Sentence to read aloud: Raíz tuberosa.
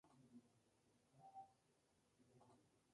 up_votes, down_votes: 0, 2